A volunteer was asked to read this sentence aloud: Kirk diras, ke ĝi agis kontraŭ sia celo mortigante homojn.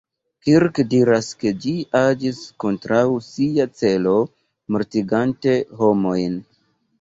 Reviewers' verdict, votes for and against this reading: accepted, 2, 0